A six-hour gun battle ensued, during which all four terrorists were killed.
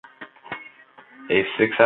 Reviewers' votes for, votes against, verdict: 0, 2, rejected